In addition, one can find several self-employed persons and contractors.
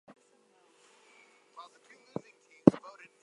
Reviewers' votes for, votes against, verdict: 2, 0, accepted